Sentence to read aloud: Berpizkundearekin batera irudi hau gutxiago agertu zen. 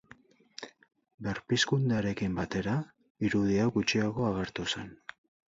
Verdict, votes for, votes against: accepted, 4, 0